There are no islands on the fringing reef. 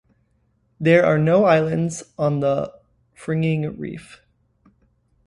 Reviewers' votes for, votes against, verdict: 2, 0, accepted